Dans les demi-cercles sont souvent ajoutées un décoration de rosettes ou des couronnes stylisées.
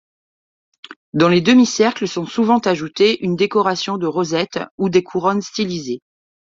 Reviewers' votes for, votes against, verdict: 2, 1, accepted